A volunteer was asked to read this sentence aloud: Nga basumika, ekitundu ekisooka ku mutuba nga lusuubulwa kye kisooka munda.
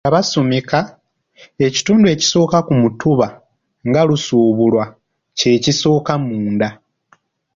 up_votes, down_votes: 1, 2